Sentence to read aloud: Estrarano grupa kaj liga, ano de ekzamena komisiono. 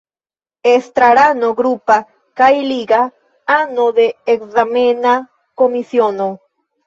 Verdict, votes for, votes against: rejected, 1, 2